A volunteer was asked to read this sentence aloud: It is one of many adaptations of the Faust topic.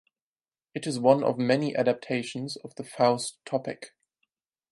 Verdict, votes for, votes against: accepted, 6, 0